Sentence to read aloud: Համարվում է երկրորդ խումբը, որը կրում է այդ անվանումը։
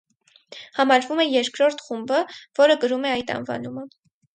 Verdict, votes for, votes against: accepted, 4, 0